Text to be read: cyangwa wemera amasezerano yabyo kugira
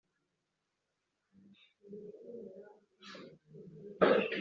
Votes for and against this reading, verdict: 1, 2, rejected